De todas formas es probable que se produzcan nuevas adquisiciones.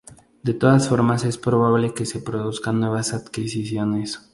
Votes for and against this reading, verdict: 2, 0, accepted